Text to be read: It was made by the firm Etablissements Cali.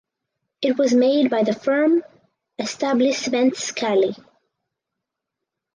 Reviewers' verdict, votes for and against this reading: rejected, 0, 4